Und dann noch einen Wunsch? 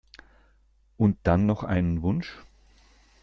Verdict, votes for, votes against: accepted, 2, 0